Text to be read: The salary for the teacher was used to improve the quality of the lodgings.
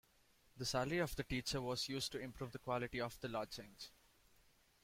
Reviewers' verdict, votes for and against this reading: rejected, 1, 2